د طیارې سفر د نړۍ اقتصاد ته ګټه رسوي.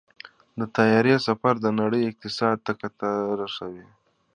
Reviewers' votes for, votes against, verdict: 2, 0, accepted